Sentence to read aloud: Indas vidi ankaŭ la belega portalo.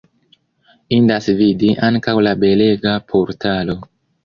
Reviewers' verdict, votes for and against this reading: rejected, 1, 2